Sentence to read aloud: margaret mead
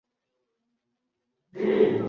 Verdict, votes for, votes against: rejected, 1, 2